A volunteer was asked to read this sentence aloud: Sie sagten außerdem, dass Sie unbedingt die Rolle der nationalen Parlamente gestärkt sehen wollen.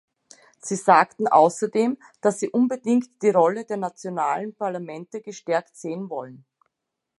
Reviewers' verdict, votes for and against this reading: accepted, 2, 0